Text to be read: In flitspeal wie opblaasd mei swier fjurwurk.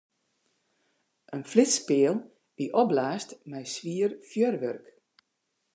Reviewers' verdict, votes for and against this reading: accepted, 2, 0